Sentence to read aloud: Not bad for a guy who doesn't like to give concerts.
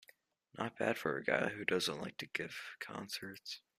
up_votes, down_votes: 2, 1